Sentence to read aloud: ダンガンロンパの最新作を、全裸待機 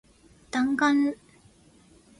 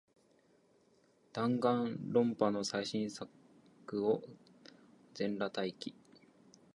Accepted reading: second